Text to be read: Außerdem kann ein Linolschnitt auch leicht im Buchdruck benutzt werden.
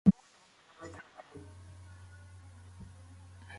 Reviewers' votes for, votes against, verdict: 0, 2, rejected